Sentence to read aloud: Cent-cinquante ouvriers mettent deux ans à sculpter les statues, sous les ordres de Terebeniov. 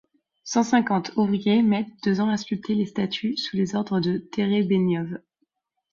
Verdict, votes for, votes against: accepted, 2, 0